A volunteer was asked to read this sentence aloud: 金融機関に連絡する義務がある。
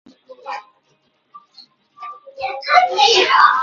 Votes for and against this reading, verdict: 1, 2, rejected